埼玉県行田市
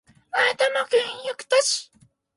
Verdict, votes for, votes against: rejected, 0, 6